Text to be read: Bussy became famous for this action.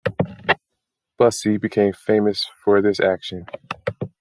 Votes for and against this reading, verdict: 2, 0, accepted